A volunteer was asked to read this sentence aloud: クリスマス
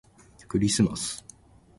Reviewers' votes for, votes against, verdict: 2, 0, accepted